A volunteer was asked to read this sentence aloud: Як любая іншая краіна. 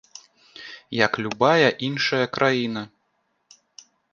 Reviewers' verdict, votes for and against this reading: accepted, 2, 0